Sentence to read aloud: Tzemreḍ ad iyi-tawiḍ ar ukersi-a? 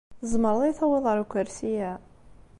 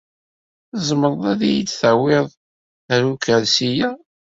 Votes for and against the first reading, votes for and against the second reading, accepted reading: 2, 0, 1, 2, first